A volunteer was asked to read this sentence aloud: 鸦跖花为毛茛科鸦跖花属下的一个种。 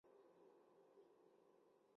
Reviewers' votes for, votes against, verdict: 2, 1, accepted